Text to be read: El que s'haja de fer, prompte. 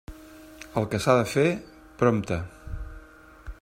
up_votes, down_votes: 0, 2